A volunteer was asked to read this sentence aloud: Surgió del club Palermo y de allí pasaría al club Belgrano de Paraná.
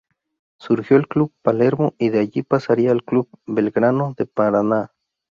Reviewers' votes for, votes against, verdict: 2, 2, rejected